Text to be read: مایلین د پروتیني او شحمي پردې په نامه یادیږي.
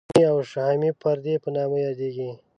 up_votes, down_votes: 1, 2